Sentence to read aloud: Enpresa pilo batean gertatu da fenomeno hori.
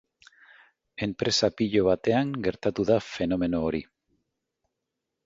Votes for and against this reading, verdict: 3, 0, accepted